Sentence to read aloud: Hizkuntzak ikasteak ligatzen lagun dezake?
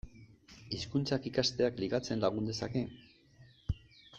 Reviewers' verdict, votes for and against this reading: accepted, 2, 0